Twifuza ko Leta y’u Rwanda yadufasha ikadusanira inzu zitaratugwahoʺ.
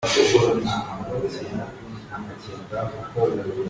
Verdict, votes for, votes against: rejected, 0, 2